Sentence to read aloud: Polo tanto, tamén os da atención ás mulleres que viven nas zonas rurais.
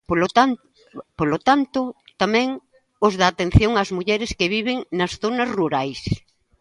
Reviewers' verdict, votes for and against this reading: rejected, 0, 2